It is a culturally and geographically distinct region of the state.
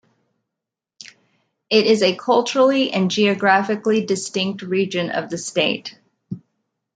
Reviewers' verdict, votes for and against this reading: accepted, 2, 0